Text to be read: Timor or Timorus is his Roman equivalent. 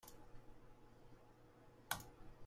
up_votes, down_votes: 0, 2